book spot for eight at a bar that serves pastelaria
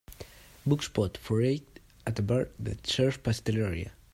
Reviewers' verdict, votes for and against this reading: accepted, 2, 1